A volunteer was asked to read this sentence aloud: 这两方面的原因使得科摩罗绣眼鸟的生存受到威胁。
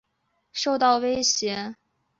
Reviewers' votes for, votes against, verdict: 1, 3, rejected